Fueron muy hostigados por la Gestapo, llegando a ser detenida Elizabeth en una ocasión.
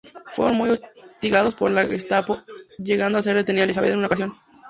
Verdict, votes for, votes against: rejected, 0, 2